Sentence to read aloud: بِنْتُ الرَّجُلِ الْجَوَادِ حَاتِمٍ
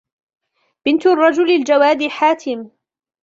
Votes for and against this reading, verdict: 2, 0, accepted